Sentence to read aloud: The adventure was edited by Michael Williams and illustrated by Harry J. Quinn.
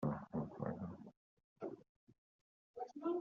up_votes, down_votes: 0, 2